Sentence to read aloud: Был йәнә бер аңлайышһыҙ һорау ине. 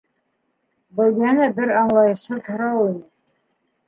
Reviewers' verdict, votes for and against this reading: rejected, 0, 2